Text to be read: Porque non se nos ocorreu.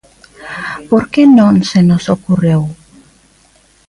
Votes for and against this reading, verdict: 2, 0, accepted